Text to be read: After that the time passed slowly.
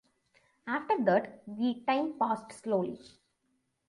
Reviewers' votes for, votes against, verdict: 0, 2, rejected